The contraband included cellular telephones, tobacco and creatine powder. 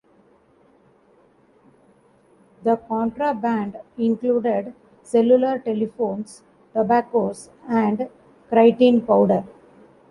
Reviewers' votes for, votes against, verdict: 0, 2, rejected